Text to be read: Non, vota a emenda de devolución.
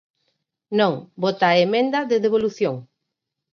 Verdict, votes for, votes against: accepted, 4, 0